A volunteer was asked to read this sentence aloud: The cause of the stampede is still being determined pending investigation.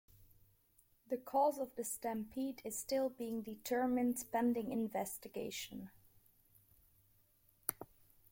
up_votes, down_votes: 2, 1